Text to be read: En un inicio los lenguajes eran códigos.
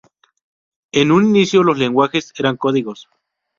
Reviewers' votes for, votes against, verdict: 0, 2, rejected